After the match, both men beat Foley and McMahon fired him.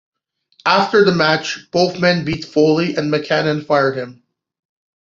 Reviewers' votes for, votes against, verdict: 1, 2, rejected